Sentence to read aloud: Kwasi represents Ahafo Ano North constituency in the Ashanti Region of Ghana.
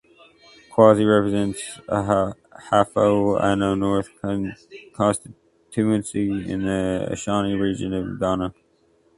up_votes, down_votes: 0, 2